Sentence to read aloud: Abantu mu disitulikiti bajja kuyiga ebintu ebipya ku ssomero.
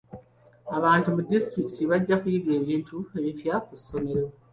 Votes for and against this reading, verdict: 2, 1, accepted